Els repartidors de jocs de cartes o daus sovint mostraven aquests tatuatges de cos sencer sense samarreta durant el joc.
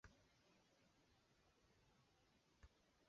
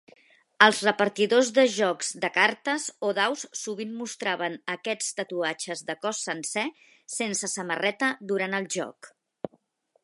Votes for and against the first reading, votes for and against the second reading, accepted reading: 1, 2, 4, 0, second